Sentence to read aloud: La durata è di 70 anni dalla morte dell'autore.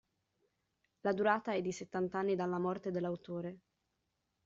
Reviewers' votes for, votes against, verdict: 0, 2, rejected